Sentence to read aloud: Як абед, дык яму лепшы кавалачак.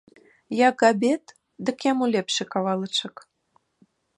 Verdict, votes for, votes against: accepted, 2, 0